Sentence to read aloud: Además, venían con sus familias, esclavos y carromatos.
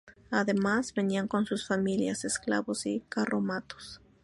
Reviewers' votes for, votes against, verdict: 0, 2, rejected